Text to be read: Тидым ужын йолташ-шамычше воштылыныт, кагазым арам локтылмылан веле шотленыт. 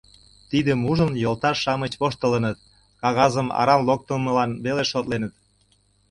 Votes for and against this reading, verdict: 1, 2, rejected